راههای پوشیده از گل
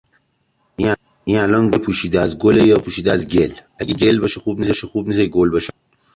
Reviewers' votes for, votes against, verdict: 0, 2, rejected